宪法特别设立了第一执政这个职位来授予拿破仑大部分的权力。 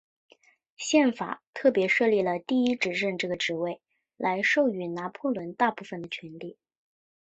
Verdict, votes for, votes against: accepted, 5, 1